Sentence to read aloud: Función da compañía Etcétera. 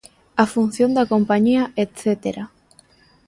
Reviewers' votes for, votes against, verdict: 1, 2, rejected